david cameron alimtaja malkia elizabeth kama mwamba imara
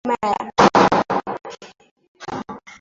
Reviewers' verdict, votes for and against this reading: rejected, 0, 2